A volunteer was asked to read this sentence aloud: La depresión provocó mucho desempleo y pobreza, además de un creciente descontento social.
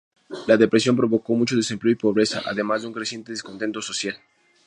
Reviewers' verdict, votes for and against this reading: rejected, 0, 2